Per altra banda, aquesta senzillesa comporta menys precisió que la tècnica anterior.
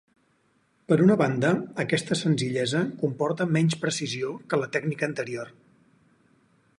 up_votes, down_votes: 2, 4